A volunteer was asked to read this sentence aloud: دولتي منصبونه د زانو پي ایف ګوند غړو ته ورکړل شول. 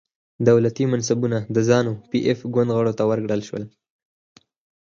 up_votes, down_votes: 4, 2